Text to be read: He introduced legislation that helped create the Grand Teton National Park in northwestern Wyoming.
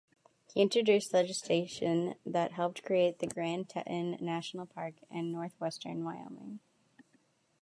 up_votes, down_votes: 0, 2